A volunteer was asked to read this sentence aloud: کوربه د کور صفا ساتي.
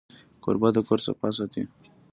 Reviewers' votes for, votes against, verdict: 2, 0, accepted